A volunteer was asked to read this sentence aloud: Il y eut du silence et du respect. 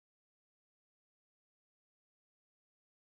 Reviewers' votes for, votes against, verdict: 0, 2, rejected